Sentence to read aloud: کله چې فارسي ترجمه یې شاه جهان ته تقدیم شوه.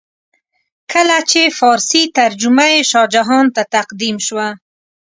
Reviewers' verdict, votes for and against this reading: accepted, 2, 0